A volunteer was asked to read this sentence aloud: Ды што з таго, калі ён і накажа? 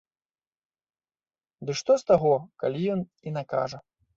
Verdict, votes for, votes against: accepted, 2, 0